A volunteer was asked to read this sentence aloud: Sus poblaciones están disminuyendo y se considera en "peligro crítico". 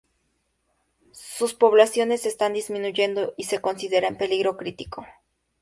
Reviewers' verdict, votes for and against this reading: accepted, 2, 0